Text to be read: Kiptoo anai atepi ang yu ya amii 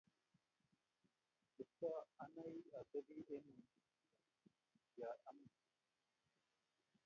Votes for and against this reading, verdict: 1, 2, rejected